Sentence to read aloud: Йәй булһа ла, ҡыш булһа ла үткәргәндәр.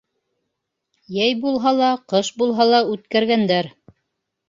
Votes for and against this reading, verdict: 3, 0, accepted